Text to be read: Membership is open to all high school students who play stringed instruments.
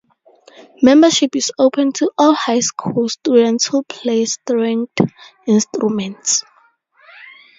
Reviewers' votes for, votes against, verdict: 0, 2, rejected